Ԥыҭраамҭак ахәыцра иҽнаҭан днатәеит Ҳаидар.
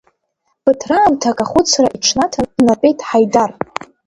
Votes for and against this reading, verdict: 2, 0, accepted